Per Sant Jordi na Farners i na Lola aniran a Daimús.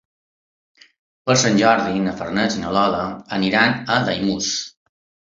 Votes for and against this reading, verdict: 2, 0, accepted